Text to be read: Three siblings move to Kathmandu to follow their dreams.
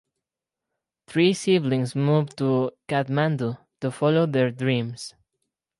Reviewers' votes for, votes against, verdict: 4, 0, accepted